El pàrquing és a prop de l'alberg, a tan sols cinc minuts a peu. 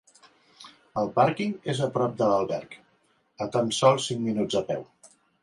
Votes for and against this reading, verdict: 2, 0, accepted